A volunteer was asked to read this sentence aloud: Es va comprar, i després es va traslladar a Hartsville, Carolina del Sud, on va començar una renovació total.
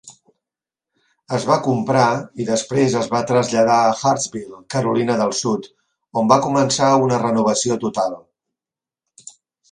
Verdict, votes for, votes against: accepted, 3, 0